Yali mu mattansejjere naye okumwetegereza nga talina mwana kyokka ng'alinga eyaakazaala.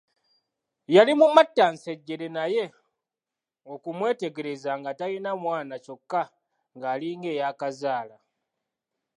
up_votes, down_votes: 2, 0